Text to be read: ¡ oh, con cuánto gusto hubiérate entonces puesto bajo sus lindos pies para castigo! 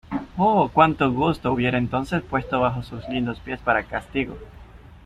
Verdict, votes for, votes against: accepted, 2, 1